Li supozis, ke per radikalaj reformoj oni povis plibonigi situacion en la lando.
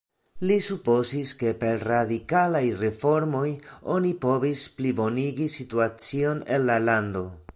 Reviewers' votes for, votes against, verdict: 2, 0, accepted